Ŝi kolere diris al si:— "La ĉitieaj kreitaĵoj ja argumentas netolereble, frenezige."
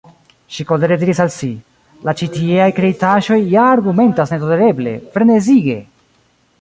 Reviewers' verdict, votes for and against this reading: rejected, 1, 2